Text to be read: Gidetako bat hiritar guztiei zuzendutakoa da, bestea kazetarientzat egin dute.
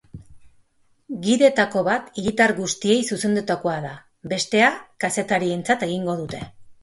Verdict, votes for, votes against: rejected, 1, 4